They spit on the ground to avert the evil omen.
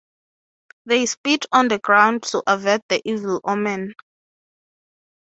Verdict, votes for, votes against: accepted, 3, 0